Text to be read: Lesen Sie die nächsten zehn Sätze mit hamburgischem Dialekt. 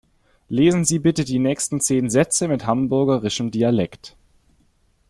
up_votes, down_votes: 1, 2